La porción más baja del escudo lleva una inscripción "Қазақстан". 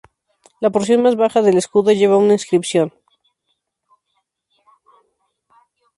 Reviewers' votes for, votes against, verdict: 0, 4, rejected